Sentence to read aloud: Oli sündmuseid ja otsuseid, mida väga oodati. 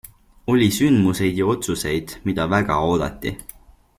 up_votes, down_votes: 2, 0